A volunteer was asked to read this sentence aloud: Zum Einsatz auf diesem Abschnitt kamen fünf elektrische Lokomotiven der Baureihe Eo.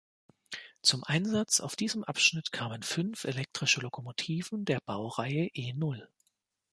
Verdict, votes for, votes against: rejected, 0, 2